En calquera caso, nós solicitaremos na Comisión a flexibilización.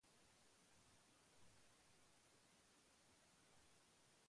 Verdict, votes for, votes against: rejected, 0, 2